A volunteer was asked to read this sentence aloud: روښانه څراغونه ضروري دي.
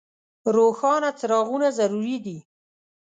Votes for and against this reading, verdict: 2, 0, accepted